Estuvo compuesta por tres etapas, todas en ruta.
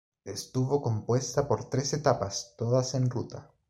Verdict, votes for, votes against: accepted, 2, 0